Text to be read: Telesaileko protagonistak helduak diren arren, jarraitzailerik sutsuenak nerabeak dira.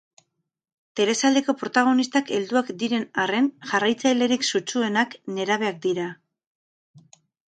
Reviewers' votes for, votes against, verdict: 4, 0, accepted